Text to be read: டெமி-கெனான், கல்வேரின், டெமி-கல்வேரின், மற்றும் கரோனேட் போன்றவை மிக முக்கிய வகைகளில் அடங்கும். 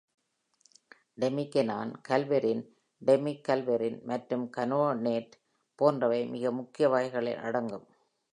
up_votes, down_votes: 1, 2